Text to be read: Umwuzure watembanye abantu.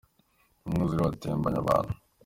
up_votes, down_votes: 2, 0